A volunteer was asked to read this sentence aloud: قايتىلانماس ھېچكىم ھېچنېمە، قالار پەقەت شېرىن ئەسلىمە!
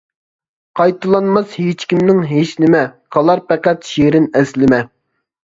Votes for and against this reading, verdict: 0, 2, rejected